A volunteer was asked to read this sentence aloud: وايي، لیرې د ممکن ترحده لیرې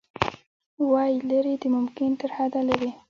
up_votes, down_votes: 1, 2